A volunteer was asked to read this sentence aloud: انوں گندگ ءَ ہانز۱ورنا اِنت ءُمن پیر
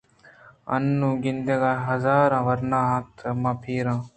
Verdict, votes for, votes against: rejected, 0, 2